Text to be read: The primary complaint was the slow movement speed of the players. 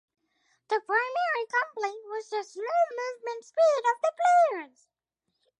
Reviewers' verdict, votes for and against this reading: accepted, 4, 0